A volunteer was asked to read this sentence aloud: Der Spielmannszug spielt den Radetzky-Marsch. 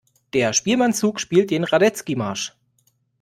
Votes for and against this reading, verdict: 2, 0, accepted